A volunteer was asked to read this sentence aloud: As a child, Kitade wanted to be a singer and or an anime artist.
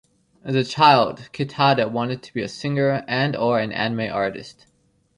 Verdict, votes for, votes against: accepted, 2, 0